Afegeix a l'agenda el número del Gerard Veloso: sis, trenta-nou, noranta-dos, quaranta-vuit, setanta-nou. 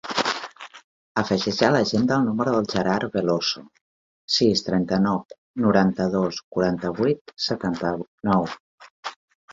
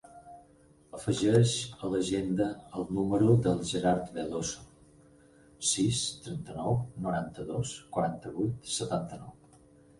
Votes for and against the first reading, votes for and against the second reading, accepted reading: 1, 4, 4, 0, second